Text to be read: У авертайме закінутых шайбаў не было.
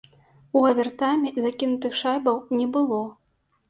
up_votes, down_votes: 2, 0